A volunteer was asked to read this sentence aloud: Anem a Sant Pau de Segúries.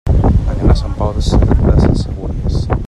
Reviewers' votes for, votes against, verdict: 0, 2, rejected